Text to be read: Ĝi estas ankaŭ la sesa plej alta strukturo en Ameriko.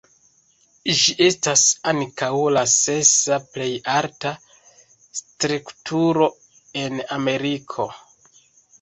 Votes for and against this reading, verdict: 1, 2, rejected